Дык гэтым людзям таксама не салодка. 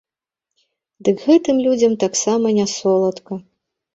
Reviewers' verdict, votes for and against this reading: rejected, 1, 3